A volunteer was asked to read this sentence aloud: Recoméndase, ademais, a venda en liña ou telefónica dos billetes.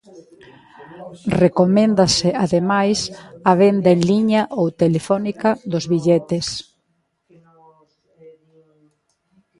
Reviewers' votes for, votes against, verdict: 2, 0, accepted